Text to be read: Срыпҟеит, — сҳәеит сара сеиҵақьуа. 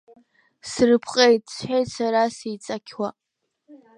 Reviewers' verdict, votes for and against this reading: accepted, 5, 2